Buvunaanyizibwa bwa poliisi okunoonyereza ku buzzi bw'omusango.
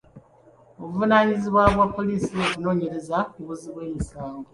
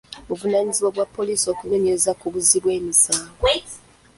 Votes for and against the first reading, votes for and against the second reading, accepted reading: 2, 0, 1, 2, first